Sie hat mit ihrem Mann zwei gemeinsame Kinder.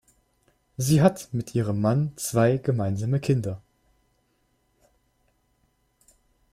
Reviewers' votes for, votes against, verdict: 2, 0, accepted